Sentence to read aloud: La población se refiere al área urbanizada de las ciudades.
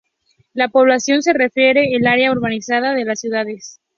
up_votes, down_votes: 0, 2